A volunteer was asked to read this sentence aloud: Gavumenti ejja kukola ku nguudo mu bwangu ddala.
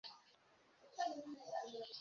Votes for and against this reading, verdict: 0, 2, rejected